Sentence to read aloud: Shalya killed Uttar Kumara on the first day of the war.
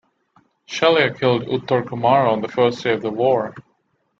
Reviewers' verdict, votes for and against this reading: rejected, 0, 2